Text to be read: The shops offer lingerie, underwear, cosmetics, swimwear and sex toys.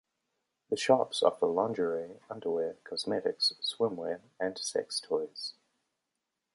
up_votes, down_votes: 2, 0